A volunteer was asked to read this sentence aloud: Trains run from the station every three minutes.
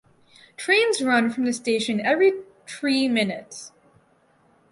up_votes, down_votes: 2, 2